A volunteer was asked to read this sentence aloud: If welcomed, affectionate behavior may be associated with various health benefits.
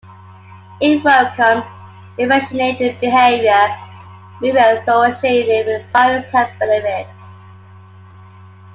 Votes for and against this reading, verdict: 0, 2, rejected